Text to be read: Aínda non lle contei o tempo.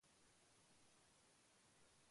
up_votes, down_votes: 0, 2